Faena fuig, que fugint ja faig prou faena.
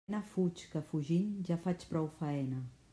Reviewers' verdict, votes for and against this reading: rejected, 0, 2